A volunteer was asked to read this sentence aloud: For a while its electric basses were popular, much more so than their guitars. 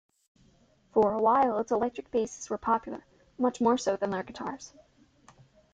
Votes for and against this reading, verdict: 1, 2, rejected